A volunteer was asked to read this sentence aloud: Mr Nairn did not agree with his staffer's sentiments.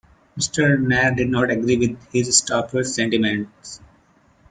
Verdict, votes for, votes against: rejected, 1, 2